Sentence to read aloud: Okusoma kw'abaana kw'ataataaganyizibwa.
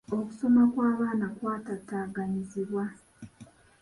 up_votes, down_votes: 2, 0